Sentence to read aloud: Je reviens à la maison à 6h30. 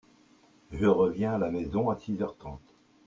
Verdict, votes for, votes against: rejected, 0, 2